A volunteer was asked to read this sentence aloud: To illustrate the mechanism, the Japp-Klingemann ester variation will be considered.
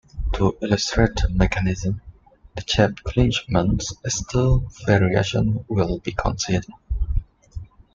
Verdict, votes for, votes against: rejected, 0, 2